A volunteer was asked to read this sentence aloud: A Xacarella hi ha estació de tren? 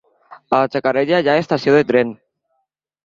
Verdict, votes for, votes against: rejected, 0, 2